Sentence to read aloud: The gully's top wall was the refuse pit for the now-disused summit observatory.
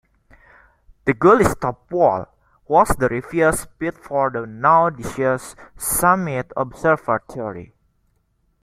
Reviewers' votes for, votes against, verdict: 1, 2, rejected